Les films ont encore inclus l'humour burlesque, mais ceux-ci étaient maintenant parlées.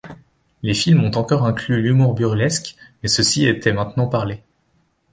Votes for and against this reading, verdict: 2, 0, accepted